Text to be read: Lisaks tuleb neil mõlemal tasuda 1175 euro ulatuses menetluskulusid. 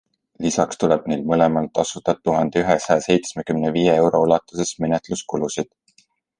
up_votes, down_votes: 0, 2